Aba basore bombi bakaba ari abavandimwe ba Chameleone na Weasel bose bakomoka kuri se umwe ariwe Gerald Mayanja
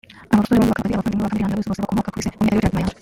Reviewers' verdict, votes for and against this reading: rejected, 0, 2